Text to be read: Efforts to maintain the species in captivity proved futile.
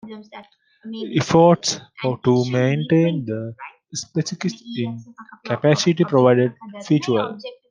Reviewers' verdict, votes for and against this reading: rejected, 0, 2